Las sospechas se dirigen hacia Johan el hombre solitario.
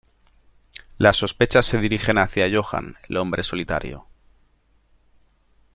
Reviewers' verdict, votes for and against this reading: accepted, 2, 0